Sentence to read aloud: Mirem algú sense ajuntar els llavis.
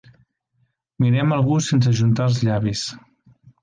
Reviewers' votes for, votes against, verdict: 2, 0, accepted